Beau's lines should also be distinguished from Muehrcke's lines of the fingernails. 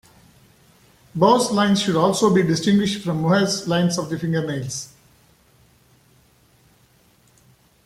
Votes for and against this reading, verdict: 2, 1, accepted